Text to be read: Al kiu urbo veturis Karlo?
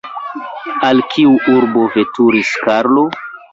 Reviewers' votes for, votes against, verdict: 2, 1, accepted